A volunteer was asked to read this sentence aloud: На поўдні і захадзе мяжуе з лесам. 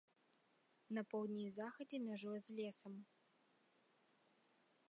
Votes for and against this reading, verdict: 2, 0, accepted